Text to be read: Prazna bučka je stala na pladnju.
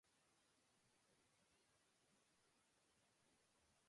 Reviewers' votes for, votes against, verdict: 0, 2, rejected